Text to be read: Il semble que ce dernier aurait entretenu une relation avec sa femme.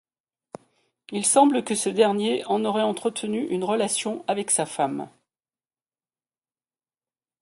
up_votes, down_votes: 0, 2